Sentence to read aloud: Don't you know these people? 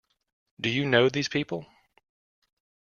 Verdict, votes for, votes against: rejected, 0, 2